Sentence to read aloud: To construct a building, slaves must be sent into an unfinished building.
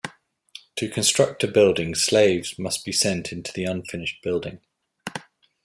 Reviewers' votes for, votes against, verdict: 1, 2, rejected